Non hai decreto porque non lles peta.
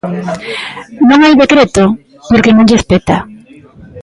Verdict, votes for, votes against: rejected, 1, 2